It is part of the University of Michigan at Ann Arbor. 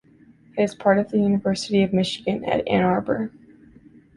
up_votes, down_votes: 1, 2